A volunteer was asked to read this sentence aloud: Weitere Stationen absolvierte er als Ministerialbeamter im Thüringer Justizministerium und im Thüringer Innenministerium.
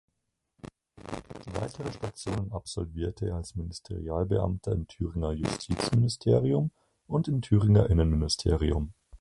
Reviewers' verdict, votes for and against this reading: rejected, 2, 4